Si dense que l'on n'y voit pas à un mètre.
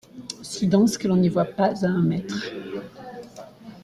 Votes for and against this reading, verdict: 2, 1, accepted